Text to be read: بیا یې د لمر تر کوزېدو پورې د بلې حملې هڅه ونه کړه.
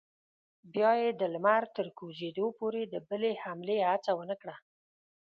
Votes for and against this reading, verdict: 2, 0, accepted